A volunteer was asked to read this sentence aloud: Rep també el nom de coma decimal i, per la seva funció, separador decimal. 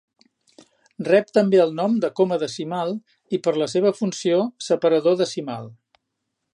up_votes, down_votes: 4, 0